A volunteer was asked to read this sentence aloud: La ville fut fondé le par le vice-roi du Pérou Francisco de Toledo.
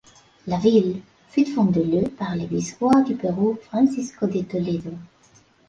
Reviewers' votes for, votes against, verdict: 2, 0, accepted